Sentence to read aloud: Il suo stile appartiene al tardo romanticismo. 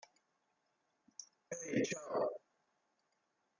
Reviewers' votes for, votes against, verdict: 0, 2, rejected